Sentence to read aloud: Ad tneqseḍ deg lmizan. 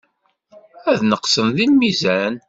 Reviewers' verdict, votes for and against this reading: rejected, 1, 2